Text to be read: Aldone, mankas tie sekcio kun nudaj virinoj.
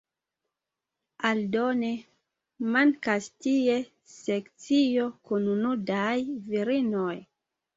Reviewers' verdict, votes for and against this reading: accepted, 2, 1